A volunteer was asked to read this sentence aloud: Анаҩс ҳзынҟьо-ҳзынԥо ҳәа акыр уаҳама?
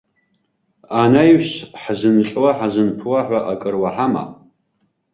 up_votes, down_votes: 2, 0